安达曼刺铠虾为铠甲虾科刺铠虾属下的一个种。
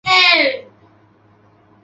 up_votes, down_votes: 0, 3